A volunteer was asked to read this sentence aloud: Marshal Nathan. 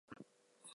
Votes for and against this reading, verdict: 0, 2, rejected